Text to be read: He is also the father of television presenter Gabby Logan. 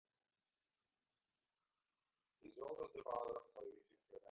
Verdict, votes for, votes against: rejected, 0, 2